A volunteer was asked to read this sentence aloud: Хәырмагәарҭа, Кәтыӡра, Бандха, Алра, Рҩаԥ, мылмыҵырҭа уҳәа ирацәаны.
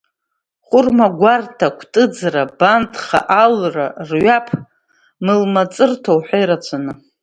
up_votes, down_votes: 2, 1